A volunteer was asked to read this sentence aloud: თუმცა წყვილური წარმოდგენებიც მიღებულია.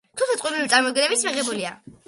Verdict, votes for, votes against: rejected, 0, 2